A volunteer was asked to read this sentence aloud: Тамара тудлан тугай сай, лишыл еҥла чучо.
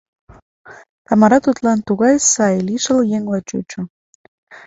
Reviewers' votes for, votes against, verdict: 2, 0, accepted